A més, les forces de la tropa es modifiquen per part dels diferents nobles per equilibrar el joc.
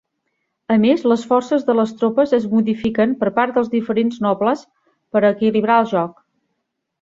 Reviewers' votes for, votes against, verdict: 1, 2, rejected